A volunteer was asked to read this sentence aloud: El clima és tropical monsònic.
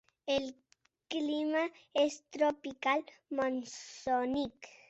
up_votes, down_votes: 0, 2